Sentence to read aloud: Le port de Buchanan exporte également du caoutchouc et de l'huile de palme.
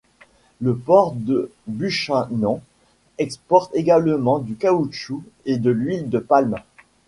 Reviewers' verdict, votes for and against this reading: rejected, 1, 2